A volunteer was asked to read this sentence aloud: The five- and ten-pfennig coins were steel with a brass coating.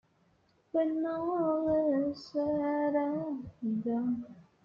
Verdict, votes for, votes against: rejected, 0, 2